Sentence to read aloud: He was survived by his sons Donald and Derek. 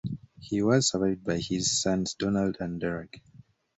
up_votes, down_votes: 2, 0